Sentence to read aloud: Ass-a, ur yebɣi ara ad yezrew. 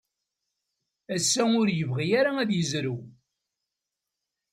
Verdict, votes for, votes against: accepted, 2, 0